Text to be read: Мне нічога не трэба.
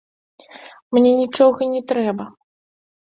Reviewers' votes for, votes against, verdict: 2, 0, accepted